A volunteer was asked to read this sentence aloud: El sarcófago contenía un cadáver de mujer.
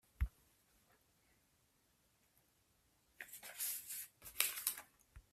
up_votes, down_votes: 0, 3